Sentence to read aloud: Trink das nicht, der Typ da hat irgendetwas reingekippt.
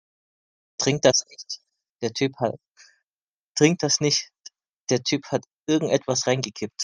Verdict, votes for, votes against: rejected, 0, 2